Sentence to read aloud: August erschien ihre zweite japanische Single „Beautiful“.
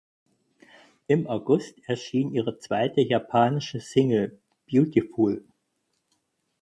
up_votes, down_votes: 4, 6